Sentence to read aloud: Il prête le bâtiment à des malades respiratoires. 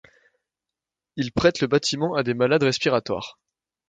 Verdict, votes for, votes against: accepted, 2, 0